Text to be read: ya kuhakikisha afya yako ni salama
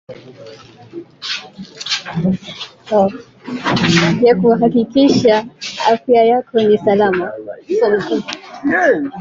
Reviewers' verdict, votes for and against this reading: rejected, 0, 2